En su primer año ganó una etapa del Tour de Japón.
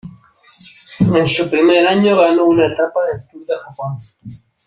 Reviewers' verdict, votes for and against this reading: accepted, 3, 2